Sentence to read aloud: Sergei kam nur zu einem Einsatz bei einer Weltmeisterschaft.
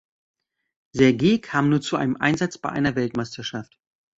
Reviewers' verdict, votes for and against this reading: accepted, 2, 0